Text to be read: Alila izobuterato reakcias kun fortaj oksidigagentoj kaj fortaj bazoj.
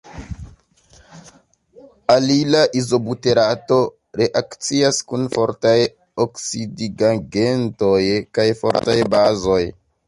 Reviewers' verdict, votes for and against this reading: accepted, 2, 0